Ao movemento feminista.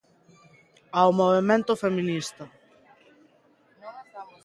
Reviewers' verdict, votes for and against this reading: rejected, 1, 2